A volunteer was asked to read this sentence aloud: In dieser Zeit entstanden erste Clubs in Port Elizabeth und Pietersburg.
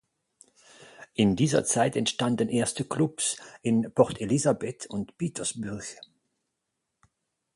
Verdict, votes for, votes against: rejected, 0, 4